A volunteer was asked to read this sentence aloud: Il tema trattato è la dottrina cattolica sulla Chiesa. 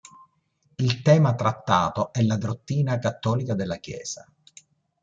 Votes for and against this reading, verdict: 0, 2, rejected